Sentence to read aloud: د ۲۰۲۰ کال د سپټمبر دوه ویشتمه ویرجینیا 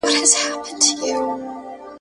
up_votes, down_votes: 0, 2